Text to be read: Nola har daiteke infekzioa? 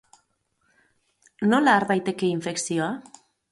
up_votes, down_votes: 4, 0